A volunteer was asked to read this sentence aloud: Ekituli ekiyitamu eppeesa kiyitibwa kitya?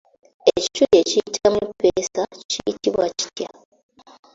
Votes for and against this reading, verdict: 0, 2, rejected